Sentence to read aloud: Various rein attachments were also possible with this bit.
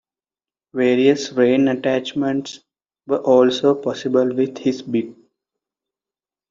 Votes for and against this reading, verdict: 2, 0, accepted